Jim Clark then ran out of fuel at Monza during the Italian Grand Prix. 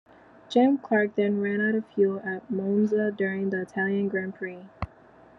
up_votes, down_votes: 2, 0